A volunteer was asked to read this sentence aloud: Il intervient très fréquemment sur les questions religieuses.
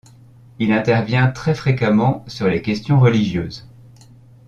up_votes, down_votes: 2, 0